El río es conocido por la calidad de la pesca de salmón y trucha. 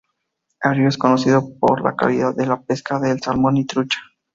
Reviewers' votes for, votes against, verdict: 0, 2, rejected